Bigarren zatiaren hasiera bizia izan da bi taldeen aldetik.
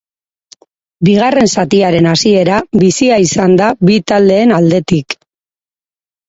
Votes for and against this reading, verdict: 2, 0, accepted